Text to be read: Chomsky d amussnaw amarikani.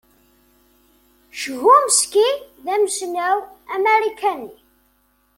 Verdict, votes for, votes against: accepted, 2, 1